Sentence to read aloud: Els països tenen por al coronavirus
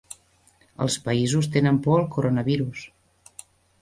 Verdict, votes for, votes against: accepted, 3, 0